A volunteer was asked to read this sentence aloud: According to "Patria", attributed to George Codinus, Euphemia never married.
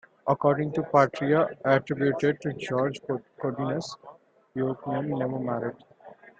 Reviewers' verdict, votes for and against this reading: accepted, 3, 0